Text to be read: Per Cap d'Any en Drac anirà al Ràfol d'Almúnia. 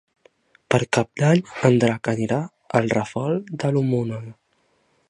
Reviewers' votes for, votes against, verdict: 1, 3, rejected